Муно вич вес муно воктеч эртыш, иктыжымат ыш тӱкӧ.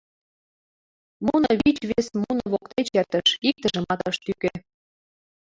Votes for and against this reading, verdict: 0, 2, rejected